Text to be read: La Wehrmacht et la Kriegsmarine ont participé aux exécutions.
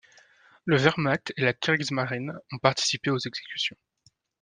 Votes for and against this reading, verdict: 0, 2, rejected